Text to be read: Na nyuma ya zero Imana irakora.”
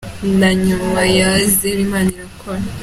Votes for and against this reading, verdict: 2, 0, accepted